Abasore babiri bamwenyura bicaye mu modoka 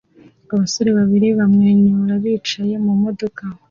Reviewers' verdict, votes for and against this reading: accepted, 2, 0